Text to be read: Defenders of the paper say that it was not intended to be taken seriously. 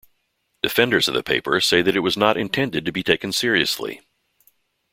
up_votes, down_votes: 2, 0